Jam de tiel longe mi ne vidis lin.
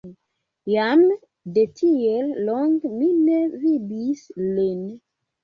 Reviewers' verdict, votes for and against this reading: rejected, 1, 2